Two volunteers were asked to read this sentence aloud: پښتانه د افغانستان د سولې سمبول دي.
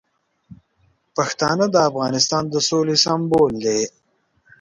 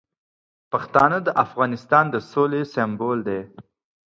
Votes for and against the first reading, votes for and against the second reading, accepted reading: 1, 2, 2, 0, second